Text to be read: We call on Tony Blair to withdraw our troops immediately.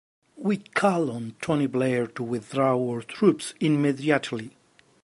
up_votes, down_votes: 2, 0